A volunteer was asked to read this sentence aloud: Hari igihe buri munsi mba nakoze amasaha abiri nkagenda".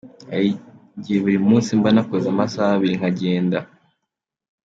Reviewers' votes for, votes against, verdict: 3, 2, accepted